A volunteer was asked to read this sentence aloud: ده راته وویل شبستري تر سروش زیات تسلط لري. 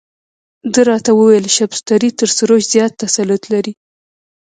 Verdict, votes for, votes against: rejected, 1, 2